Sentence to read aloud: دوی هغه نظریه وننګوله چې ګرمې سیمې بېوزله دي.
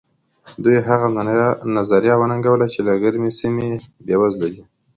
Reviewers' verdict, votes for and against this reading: rejected, 1, 2